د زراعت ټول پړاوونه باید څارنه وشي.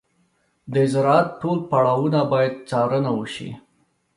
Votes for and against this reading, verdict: 2, 0, accepted